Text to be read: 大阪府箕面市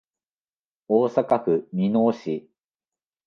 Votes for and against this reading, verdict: 2, 0, accepted